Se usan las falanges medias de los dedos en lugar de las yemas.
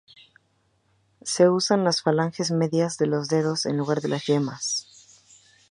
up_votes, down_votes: 4, 0